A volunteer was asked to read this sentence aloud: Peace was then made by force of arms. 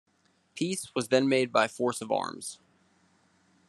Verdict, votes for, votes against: accepted, 2, 0